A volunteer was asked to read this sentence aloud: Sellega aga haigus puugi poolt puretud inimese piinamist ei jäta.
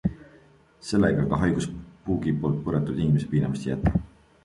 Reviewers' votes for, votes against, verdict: 2, 0, accepted